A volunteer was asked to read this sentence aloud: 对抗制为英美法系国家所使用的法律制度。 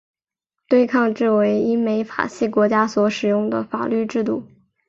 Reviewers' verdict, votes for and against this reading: accepted, 3, 1